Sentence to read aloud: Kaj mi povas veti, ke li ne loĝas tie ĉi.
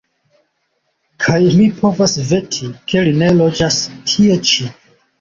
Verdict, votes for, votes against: accepted, 2, 0